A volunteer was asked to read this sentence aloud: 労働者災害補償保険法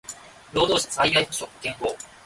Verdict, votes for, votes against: accepted, 2, 0